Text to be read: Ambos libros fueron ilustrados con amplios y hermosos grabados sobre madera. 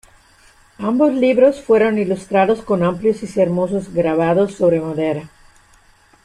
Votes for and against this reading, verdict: 0, 2, rejected